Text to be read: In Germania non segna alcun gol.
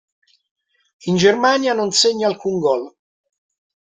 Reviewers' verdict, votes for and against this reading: accepted, 2, 0